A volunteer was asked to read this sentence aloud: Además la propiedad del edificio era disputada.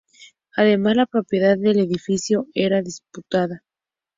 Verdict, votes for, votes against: accepted, 2, 0